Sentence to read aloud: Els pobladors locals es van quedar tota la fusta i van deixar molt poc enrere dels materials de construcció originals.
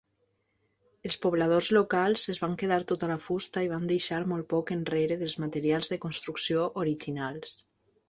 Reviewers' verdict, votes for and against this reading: accepted, 3, 0